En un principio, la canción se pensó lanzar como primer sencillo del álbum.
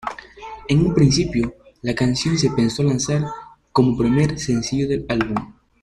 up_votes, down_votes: 2, 1